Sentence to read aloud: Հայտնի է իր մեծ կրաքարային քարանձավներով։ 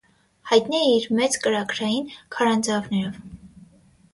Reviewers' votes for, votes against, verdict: 3, 3, rejected